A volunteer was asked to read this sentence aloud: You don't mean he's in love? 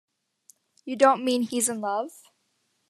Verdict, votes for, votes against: accepted, 2, 0